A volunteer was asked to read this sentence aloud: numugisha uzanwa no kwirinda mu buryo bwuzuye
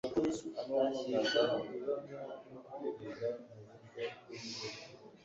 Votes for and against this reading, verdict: 1, 2, rejected